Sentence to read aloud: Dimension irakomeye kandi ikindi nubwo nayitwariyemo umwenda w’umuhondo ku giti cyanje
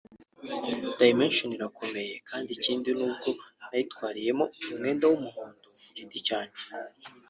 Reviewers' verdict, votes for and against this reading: rejected, 0, 2